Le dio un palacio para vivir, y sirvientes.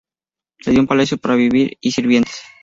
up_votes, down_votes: 4, 0